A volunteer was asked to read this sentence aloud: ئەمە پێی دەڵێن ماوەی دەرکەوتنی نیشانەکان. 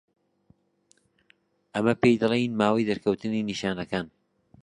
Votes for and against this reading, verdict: 0, 2, rejected